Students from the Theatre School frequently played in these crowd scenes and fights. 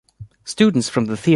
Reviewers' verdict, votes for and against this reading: rejected, 0, 2